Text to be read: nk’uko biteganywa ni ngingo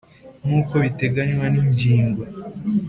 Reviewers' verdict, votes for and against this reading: accepted, 4, 0